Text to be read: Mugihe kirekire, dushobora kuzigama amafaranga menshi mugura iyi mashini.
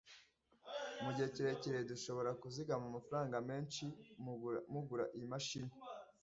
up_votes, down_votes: 1, 2